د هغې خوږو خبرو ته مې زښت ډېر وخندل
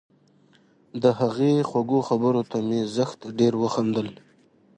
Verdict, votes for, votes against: accepted, 2, 0